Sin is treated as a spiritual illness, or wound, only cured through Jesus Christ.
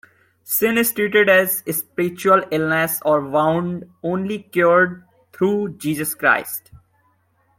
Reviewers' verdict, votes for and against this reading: accepted, 2, 0